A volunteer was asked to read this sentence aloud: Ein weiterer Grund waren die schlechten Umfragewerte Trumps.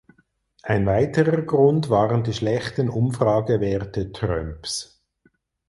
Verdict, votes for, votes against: rejected, 0, 4